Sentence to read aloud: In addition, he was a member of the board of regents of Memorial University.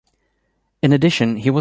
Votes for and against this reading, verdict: 0, 2, rejected